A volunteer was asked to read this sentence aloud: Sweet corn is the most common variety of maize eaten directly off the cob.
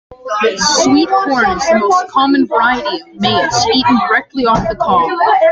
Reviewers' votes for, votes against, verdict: 1, 2, rejected